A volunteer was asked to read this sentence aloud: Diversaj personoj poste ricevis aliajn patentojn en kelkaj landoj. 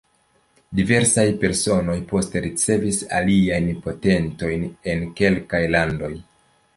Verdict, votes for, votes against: accepted, 2, 0